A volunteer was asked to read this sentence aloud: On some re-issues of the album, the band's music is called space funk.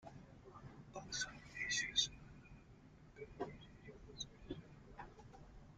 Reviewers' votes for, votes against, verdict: 0, 2, rejected